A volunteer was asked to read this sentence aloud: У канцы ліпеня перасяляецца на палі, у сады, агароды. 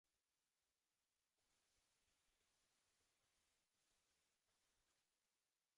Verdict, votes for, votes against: rejected, 0, 2